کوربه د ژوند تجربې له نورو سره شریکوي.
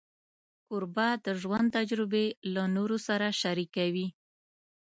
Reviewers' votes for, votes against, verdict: 3, 0, accepted